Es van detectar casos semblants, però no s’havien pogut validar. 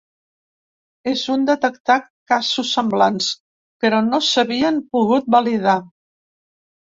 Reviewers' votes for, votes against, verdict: 0, 2, rejected